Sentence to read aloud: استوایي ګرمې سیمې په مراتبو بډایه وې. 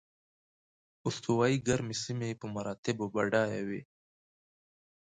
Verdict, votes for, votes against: accepted, 2, 0